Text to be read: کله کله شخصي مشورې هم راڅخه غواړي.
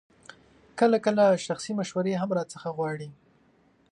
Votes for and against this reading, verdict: 2, 0, accepted